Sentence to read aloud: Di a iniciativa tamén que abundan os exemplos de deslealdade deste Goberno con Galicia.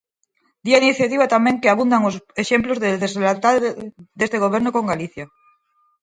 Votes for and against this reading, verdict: 0, 4, rejected